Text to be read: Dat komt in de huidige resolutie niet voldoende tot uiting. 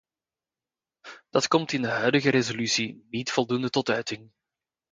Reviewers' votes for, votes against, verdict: 2, 0, accepted